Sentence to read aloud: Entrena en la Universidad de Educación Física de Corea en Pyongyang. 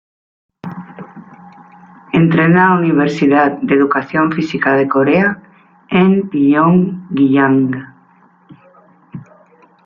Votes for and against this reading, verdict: 1, 2, rejected